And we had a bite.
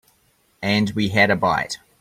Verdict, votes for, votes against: accepted, 2, 0